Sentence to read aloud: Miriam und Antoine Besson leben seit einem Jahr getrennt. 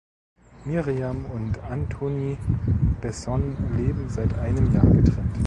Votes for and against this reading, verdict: 1, 2, rejected